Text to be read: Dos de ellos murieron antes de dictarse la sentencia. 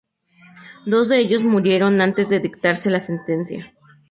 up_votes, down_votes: 4, 0